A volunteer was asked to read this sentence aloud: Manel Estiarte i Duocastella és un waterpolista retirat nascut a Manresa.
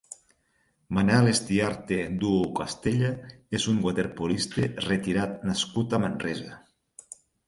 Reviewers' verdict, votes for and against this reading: rejected, 2, 6